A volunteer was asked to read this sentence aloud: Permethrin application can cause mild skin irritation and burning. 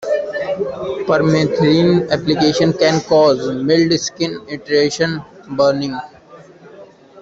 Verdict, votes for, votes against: rejected, 1, 2